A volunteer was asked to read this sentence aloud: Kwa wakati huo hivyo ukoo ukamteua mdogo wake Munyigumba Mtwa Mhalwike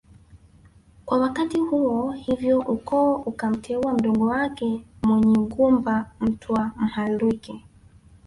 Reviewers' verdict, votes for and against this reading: rejected, 1, 2